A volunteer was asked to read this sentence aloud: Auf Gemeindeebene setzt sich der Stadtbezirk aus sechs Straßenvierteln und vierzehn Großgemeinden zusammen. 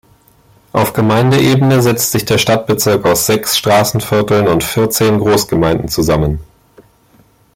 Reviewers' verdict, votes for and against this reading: accepted, 2, 0